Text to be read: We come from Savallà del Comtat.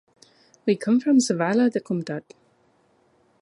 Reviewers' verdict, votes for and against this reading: accepted, 2, 0